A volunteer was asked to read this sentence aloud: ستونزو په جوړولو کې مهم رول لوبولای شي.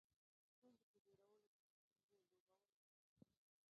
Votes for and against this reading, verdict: 1, 2, rejected